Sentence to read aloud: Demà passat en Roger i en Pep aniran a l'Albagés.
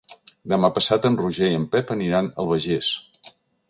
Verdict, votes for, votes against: rejected, 1, 2